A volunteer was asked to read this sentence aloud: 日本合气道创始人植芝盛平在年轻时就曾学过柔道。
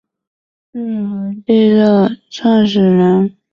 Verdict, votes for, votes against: rejected, 0, 2